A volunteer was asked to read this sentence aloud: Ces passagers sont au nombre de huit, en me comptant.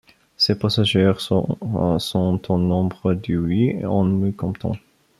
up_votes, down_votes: 0, 2